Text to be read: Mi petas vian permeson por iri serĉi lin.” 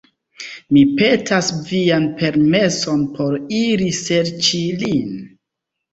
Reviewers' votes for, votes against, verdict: 3, 1, accepted